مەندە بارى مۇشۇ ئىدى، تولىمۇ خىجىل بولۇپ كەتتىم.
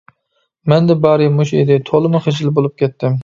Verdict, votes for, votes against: accepted, 2, 0